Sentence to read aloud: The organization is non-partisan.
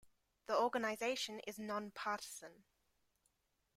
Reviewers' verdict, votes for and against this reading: rejected, 1, 2